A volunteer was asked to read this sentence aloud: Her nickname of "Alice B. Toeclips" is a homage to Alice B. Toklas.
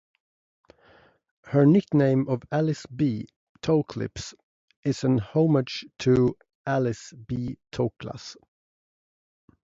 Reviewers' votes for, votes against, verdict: 0, 2, rejected